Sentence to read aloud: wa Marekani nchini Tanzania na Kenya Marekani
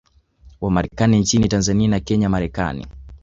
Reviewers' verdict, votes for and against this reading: rejected, 1, 2